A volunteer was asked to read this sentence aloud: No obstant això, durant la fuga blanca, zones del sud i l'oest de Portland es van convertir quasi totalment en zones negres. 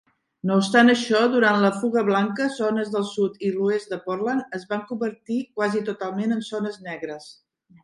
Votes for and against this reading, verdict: 1, 2, rejected